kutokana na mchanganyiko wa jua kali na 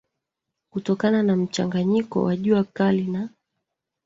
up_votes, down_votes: 2, 1